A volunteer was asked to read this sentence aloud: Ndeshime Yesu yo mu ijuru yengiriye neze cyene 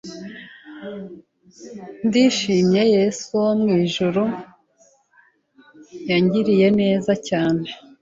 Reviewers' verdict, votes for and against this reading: rejected, 1, 2